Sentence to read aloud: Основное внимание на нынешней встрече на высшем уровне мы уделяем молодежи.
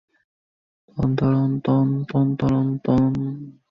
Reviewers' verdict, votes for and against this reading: rejected, 0, 2